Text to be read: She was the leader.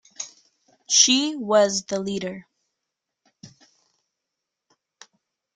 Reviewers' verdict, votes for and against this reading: accepted, 2, 0